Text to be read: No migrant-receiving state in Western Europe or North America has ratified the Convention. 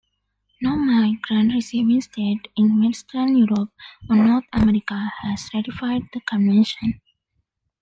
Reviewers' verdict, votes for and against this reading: accepted, 2, 0